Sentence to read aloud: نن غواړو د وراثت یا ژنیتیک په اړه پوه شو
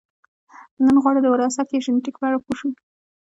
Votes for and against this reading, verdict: 1, 2, rejected